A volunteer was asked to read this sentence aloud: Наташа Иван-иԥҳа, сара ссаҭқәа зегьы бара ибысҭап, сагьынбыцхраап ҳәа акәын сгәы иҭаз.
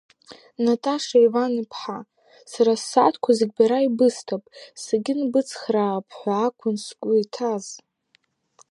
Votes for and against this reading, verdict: 2, 0, accepted